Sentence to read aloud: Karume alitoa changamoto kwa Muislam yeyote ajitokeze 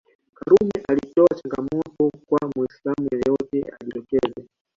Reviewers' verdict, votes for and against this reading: rejected, 0, 2